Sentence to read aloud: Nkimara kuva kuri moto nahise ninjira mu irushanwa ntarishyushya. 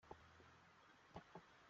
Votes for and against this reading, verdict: 0, 3, rejected